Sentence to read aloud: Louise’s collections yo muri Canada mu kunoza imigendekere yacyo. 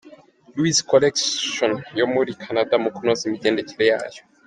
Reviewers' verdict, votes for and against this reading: accepted, 2, 1